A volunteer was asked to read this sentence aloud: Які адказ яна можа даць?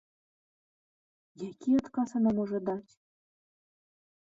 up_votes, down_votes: 0, 2